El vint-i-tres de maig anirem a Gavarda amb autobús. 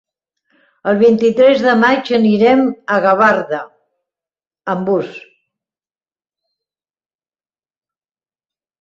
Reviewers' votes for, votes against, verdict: 0, 3, rejected